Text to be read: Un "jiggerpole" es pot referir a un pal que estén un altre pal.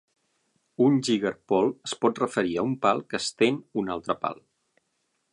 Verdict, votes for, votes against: accepted, 6, 0